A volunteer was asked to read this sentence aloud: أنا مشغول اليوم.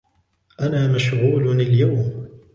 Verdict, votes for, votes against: accepted, 2, 0